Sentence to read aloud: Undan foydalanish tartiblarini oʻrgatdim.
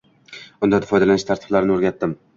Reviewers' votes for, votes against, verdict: 2, 1, accepted